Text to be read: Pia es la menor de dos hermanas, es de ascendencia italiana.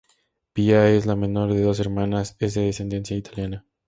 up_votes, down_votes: 2, 0